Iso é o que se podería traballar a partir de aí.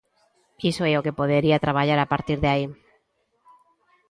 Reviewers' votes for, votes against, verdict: 1, 2, rejected